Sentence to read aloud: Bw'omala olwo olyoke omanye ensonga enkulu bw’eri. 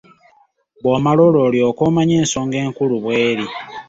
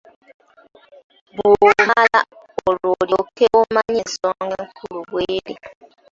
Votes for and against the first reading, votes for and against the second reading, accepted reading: 2, 0, 0, 2, first